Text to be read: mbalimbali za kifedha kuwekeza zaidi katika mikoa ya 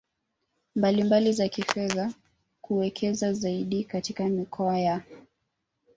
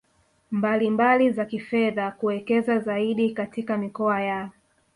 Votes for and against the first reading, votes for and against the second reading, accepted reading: 1, 2, 6, 2, second